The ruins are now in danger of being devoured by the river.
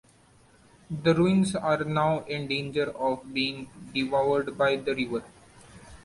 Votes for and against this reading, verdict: 2, 0, accepted